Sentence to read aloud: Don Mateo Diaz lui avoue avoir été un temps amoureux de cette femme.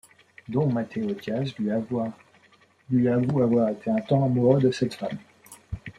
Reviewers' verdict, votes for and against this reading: rejected, 0, 2